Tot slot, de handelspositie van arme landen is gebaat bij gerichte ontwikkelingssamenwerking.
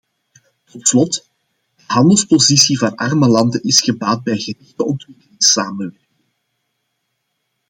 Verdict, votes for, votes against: rejected, 0, 2